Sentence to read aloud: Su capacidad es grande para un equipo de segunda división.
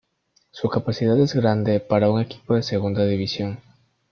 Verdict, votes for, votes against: accepted, 2, 1